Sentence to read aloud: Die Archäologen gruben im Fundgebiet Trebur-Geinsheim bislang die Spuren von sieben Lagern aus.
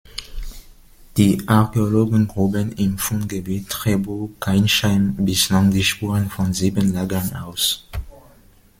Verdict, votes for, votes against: rejected, 1, 2